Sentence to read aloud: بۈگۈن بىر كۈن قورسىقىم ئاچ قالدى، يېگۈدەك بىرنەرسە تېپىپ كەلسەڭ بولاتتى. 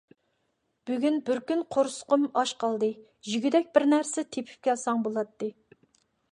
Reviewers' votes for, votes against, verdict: 2, 0, accepted